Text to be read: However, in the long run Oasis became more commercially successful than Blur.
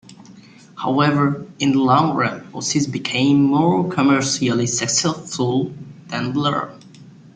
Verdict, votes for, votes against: rejected, 0, 2